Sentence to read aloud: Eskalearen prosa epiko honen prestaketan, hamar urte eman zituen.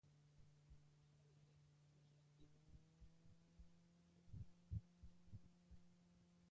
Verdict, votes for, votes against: rejected, 0, 2